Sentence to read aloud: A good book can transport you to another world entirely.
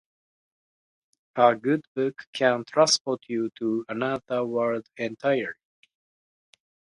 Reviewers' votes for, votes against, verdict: 0, 2, rejected